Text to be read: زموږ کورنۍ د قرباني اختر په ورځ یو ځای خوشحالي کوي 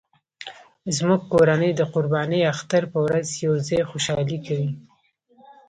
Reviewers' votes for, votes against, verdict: 2, 0, accepted